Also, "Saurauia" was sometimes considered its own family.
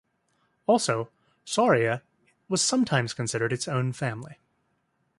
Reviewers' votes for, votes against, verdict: 2, 0, accepted